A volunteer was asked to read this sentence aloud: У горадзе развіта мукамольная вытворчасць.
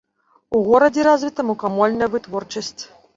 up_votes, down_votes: 2, 0